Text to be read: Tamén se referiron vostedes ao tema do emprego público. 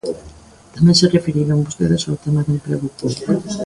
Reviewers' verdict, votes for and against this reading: rejected, 1, 2